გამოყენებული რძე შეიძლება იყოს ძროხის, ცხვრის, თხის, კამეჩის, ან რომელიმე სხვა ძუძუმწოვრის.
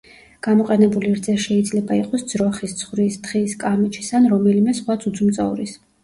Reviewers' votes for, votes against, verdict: 0, 2, rejected